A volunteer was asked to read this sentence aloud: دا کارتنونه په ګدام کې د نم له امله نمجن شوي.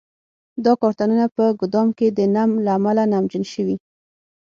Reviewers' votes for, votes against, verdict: 6, 0, accepted